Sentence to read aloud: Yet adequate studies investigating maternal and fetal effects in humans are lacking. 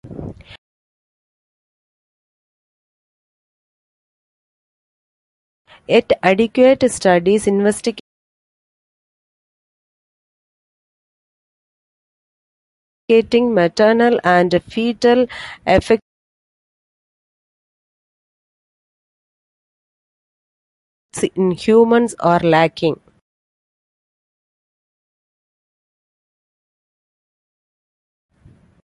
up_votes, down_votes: 0, 2